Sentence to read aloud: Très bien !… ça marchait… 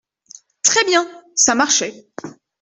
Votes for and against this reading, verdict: 2, 0, accepted